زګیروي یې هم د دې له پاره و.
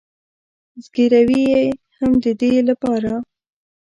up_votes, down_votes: 1, 2